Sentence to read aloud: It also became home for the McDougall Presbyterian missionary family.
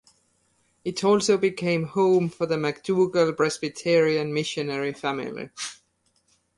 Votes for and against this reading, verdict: 2, 0, accepted